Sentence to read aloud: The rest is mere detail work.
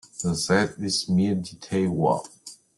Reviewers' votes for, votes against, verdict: 0, 2, rejected